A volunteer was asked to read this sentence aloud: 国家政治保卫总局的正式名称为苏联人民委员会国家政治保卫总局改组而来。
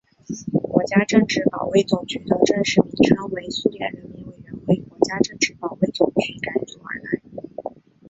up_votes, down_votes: 1, 2